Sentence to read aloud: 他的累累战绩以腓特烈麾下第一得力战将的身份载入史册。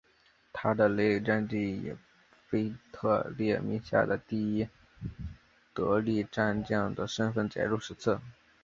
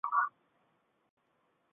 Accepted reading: first